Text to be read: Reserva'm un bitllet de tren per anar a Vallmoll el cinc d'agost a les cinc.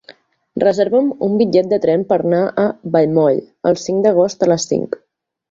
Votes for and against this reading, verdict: 1, 3, rejected